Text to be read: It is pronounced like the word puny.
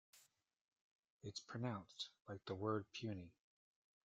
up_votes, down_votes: 1, 2